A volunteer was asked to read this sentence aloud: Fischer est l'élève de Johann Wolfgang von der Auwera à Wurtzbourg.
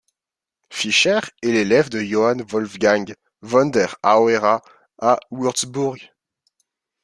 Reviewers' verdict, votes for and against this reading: rejected, 0, 2